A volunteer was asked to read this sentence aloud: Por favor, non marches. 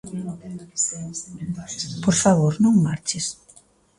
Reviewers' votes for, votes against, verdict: 1, 2, rejected